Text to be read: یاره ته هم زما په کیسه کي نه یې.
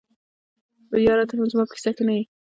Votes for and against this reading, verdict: 0, 2, rejected